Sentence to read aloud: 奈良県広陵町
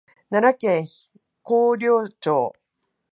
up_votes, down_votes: 4, 0